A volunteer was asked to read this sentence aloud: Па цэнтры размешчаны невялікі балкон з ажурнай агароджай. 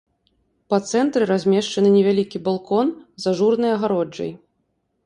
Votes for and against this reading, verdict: 2, 0, accepted